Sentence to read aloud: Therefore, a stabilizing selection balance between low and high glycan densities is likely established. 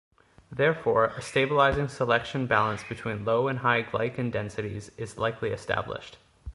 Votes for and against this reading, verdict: 2, 0, accepted